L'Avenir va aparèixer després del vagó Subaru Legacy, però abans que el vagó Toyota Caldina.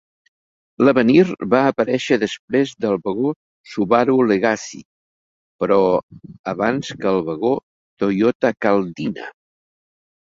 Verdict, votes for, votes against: accepted, 2, 0